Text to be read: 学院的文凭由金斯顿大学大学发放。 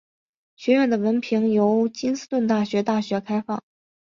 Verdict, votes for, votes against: rejected, 0, 2